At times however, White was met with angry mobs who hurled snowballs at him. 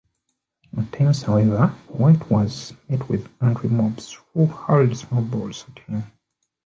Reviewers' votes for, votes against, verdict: 0, 2, rejected